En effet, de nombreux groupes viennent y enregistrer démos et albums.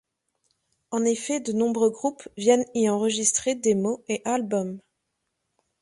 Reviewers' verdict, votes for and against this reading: accepted, 2, 0